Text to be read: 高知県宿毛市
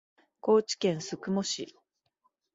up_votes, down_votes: 2, 0